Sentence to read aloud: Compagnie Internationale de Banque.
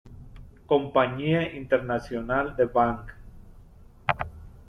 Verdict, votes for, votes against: rejected, 0, 2